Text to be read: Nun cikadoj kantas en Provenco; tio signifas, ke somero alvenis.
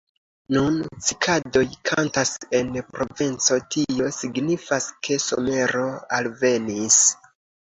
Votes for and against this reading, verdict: 2, 0, accepted